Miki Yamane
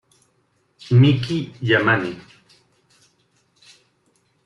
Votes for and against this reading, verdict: 1, 2, rejected